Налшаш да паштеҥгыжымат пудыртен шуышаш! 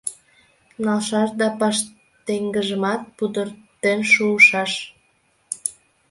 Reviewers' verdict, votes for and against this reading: rejected, 1, 2